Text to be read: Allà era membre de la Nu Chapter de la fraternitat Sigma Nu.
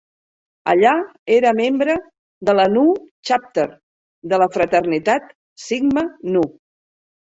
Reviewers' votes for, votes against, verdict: 2, 0, accepted